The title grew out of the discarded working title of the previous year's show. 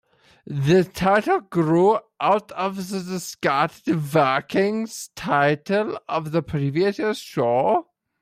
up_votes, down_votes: 0, 2